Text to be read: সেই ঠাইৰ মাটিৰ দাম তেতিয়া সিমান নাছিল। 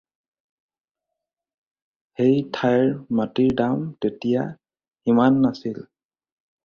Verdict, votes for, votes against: accepted, 4, 0